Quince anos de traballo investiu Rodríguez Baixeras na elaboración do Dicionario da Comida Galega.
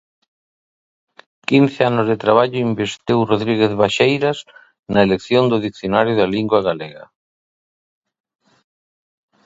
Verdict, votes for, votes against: rejected, 0, 2